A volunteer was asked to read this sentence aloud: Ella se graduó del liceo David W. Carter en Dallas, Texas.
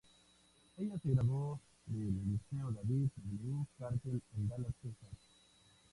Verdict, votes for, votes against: rejected, 0, 2